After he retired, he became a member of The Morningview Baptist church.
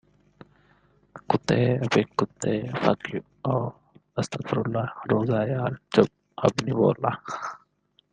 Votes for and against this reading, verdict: 0, 2, rejected